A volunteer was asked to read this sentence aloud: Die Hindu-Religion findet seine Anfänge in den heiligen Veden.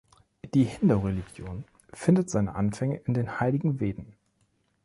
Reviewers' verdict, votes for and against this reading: accepted, 2, 0